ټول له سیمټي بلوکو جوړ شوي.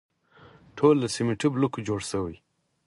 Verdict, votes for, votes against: accepted, 4, 0